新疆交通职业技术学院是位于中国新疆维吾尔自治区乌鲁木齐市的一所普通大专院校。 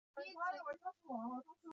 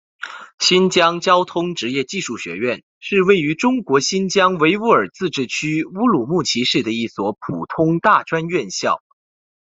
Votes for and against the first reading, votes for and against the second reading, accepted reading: 0, 3, 2, 0, second